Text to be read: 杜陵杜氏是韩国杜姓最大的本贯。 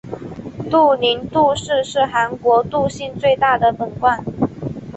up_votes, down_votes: 3, 0